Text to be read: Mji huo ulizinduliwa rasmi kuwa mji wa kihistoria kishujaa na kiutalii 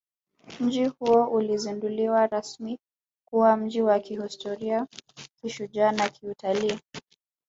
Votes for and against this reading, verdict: 0, 2, rejected